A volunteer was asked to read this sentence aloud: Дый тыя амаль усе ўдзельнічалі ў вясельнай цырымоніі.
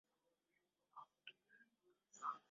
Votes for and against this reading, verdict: 0, 2, rejected